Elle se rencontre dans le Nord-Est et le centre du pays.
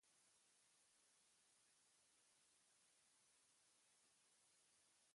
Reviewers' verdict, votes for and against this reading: rejected, 1, 2